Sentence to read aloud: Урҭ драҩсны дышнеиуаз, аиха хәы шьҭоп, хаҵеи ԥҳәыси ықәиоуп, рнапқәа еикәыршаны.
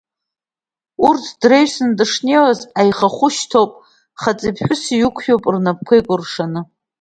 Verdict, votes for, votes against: accepted, 2, 1